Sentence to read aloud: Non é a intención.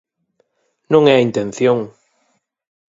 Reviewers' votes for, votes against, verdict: 8, 0, accepted